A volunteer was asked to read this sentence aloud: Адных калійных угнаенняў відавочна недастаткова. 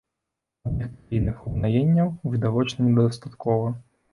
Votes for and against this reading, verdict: 0, 2, rejected